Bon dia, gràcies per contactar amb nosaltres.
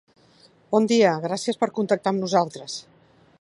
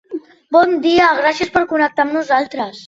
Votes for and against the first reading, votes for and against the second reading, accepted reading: 3, 0, 0, 3, first